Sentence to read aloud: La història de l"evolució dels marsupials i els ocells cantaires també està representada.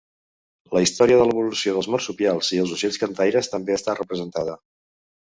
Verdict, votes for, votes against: accepted, 3, 0